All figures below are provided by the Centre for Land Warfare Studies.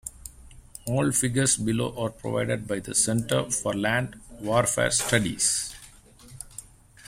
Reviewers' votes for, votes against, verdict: 2, 0, accepted